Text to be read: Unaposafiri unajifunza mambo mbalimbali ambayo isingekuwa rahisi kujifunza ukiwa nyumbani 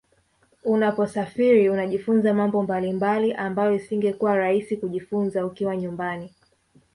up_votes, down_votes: 2, 0